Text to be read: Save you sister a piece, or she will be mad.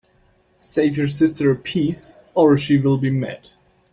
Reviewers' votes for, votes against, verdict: 2, 0, accepted